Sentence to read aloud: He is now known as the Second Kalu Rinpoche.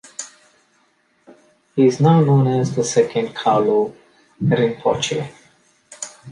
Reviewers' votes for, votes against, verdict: 2, 0, accepted